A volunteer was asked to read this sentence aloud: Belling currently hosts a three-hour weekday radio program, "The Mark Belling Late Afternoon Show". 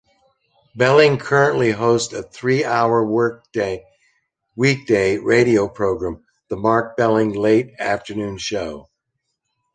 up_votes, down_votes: 0, 2